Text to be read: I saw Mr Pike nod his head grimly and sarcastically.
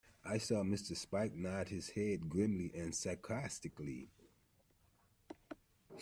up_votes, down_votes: 1, 2